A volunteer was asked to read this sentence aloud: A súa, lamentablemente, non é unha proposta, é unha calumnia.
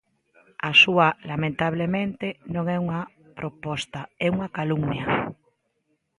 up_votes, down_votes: 2, 0